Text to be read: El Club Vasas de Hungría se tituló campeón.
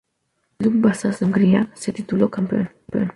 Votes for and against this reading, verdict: 0, 2, rejected